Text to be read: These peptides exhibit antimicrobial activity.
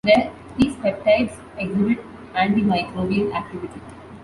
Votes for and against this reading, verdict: 0, 2, rejected